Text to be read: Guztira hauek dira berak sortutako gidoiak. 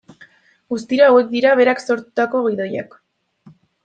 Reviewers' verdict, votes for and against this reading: accepted, 2, 0